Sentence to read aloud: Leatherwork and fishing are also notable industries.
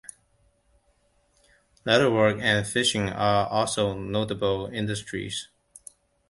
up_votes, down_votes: 2, 0